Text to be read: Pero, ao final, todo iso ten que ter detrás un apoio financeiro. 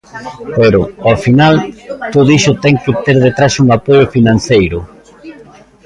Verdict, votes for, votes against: accepted, 2, 0